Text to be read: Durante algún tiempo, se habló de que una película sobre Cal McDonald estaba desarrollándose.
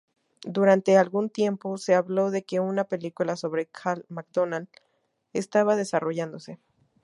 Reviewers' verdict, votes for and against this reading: accepted, 2, 0